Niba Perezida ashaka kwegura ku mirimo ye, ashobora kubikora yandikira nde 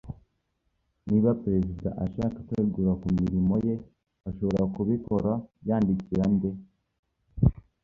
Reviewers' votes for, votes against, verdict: 2, 0, accepted